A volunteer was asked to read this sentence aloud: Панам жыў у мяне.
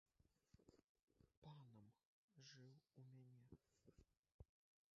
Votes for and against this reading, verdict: 0, 2, rejected